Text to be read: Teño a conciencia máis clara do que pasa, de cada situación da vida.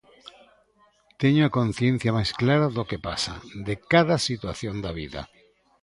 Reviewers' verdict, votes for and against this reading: accepted, 2, 0